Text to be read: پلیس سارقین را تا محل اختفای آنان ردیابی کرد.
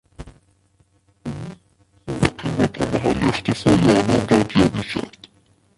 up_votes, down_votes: 0, 2